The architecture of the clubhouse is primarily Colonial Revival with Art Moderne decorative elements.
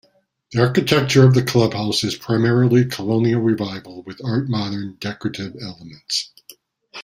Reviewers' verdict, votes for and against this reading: accepted, 2, 0